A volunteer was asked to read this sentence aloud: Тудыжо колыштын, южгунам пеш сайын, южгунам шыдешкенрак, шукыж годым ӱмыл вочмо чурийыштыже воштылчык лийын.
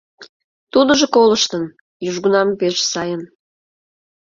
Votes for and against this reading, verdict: 0, 2, rejected